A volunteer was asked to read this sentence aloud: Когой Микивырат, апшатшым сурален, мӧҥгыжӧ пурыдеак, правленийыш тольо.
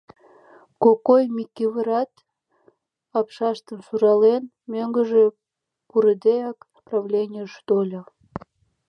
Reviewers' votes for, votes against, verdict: 1, 2, rejected